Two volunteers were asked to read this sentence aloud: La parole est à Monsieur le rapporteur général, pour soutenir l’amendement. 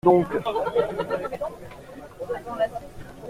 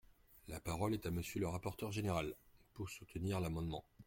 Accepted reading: second